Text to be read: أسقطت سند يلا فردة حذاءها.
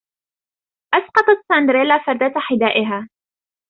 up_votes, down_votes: 1, 2